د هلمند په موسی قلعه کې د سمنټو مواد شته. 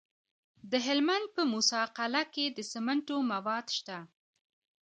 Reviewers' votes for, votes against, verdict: 2, 1, accepted